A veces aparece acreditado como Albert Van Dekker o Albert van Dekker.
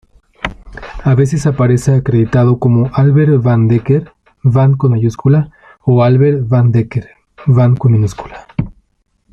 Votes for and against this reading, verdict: 0, 2, rejected